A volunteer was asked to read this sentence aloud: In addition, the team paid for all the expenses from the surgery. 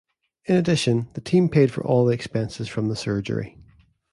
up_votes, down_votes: 2, 0